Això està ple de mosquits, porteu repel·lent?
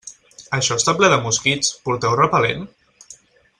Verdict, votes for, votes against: accepted, 4, 0